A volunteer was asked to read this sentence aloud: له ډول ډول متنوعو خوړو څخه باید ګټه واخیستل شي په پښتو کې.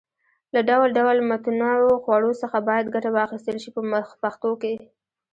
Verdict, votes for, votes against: rejected, 1, 2